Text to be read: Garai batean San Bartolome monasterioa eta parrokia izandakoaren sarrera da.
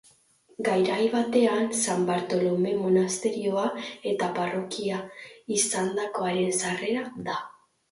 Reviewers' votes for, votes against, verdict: 0, 2, rejected